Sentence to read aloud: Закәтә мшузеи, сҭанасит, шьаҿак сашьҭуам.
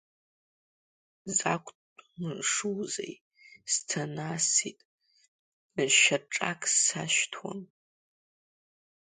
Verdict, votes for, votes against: rejected, 0, 2